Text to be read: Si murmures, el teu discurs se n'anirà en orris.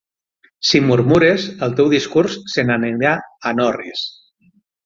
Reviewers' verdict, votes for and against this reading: rejected, 6, 9